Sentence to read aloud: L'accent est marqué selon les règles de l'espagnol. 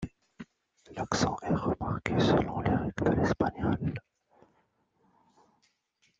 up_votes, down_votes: 0, 2